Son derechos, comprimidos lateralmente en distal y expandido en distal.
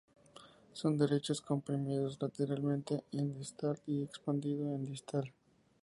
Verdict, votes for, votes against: accepted, 2, 0